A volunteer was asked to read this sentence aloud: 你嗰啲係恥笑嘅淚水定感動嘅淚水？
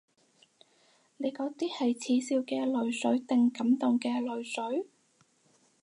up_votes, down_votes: 4, 0